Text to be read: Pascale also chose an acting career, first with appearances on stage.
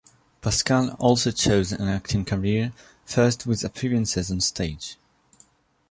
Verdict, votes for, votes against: rejected, 1, 2